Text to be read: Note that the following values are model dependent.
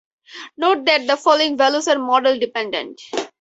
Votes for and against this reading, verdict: 4, 0, accepted